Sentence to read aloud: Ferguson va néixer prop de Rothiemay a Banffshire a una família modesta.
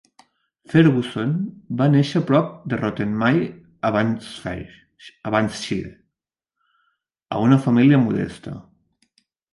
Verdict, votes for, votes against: rejected, 0, 2